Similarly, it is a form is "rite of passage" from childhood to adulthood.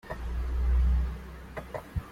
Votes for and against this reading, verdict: 0, 2, rejected